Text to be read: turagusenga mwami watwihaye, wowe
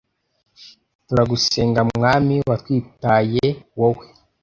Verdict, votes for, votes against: rejected, 0, 2